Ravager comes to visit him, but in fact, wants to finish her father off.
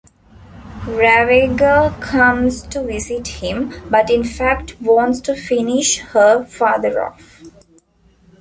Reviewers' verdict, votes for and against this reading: rejected, 1, 2